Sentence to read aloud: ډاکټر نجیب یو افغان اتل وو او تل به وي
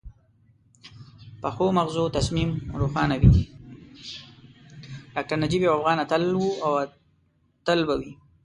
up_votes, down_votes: 0, 2